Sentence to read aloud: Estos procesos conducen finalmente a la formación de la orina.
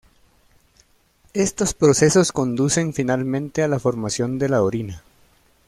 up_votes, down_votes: 1, 2